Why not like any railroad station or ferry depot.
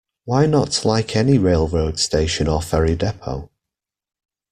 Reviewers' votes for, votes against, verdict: 2, 1, accepted